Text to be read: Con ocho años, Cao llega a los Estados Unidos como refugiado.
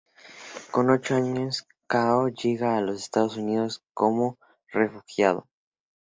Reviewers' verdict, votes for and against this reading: accepted, 2, 0